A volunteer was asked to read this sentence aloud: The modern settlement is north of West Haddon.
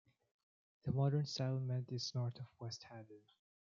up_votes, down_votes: 2, 1